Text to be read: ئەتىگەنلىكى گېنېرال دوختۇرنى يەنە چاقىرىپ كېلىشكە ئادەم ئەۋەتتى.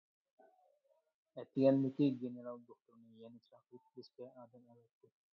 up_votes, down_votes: 1, 2